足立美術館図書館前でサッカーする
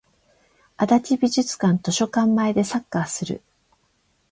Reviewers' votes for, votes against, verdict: 12, 4, accepted